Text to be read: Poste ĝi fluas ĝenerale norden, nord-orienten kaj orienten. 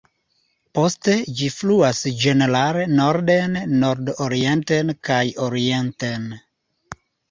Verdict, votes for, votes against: rejected, 0, 2